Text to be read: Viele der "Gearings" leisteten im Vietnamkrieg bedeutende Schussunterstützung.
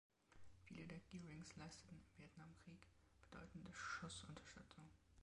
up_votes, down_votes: 1, 2